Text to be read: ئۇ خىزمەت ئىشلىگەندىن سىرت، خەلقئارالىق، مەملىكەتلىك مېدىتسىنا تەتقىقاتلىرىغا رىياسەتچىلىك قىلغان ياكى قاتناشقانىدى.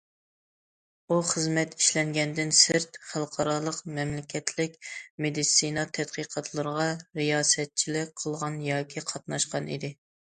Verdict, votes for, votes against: rejected, 0, 2